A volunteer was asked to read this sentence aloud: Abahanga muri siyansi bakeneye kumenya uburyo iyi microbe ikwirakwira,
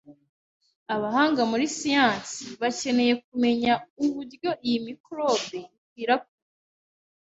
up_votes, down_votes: 2, 0